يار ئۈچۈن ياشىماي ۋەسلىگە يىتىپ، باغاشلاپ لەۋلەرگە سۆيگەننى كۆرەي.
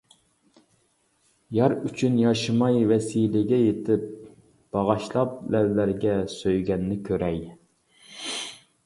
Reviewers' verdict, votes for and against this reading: rejected, 0, 2